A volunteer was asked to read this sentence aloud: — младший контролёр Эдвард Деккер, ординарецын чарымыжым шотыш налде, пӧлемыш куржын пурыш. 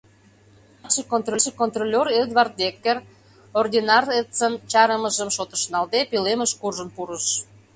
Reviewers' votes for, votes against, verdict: 0, 2, rejected